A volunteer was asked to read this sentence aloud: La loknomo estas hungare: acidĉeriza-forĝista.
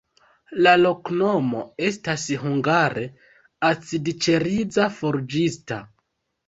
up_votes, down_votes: 1, 3